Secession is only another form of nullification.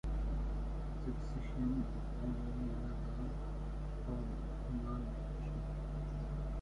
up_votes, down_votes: 0, 2